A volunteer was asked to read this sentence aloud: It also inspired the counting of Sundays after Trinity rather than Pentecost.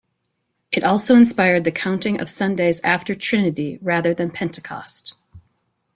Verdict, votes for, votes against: accepted, 2, 0